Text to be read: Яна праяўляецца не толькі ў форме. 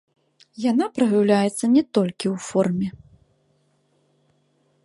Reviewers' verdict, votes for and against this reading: accepted, 2, 0